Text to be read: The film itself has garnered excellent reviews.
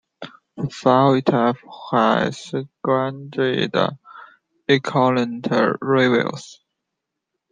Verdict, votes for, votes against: rejected, 1, 2